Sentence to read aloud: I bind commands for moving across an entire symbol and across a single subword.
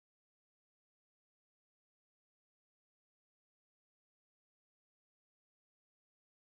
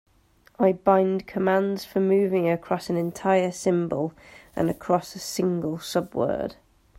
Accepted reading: second